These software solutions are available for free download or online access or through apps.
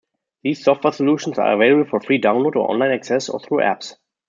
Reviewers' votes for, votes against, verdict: 2, 1, accepted